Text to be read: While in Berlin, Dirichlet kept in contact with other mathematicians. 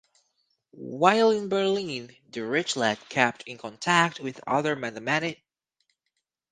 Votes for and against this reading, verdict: 0, 4, rejected